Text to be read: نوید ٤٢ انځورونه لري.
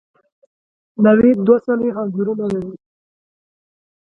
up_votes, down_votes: 0, 2